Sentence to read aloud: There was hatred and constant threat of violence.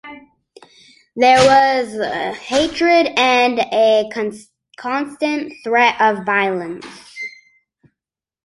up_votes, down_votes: 1, 2